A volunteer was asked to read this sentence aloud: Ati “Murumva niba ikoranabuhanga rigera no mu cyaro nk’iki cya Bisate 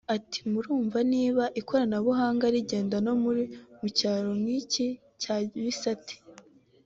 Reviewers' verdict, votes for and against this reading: accepted, 2, 0